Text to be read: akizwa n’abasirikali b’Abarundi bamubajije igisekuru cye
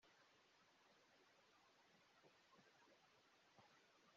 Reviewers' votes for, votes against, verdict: 0, 2, rejected